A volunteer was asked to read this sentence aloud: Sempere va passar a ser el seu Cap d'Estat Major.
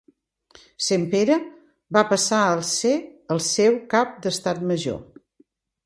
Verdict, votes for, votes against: rejected, 1, 2